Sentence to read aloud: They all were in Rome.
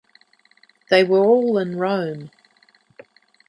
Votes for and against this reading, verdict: 0, 2, rejected